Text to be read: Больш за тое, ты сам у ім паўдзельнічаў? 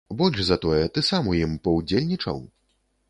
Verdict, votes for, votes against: accepted, 2, 0